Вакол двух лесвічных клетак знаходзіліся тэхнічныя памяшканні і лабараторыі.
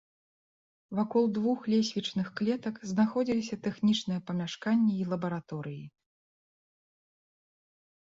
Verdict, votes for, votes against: accepted, 2, 0